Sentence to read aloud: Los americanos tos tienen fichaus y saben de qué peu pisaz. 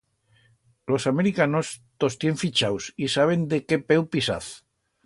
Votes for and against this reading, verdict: 2, 0, accepted